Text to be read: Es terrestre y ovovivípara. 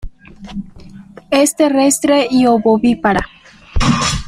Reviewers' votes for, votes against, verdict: 1, 2, rejected